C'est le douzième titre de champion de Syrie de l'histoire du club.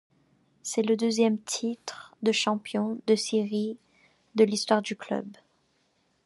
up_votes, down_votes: 0, 2